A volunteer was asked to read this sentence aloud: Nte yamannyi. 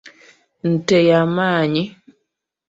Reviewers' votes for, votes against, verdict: 2, 0, accepted